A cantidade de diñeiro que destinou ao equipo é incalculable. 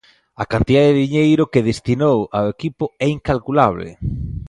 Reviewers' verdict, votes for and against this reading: accepted, 2, 0